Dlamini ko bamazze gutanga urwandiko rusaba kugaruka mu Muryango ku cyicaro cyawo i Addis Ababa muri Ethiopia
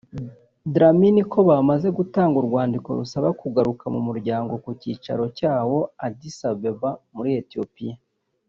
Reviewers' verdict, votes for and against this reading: rejected, 0, 3